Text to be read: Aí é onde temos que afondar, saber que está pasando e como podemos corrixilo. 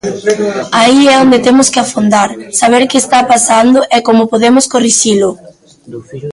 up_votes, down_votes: 1, 2